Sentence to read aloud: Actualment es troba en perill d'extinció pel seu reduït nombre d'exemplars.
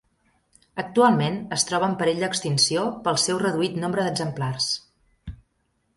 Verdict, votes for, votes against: accepted, 3, 1